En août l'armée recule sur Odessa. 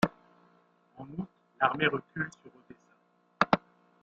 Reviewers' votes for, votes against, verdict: 0, 2, rejected